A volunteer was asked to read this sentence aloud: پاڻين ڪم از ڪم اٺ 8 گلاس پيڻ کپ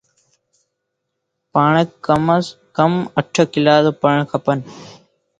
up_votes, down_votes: 0, 2